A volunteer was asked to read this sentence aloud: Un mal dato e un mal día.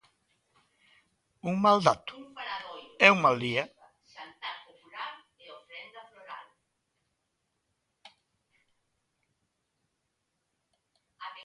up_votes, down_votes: 1, 2